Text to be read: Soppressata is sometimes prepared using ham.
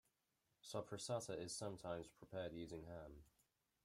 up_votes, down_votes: 2, 1